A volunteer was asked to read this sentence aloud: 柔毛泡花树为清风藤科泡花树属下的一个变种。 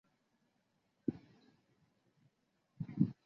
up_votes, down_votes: 1, 3